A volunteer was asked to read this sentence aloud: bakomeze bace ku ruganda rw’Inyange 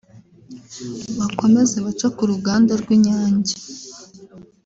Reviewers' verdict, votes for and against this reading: rejected, 0, 2